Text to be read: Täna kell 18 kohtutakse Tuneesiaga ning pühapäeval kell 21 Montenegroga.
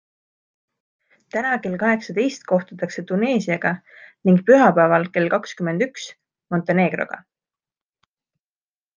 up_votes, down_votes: 0, 2